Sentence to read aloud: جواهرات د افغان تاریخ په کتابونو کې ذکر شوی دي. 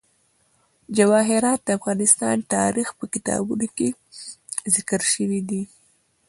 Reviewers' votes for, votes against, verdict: 2, 1, accepted